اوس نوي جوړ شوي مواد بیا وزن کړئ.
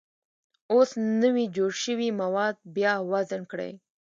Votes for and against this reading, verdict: 2, 0, accepted